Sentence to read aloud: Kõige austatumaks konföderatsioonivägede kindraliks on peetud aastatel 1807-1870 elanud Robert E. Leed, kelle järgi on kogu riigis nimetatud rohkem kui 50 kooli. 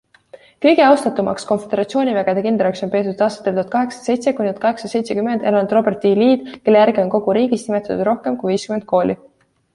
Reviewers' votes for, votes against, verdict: 0, 2, rejected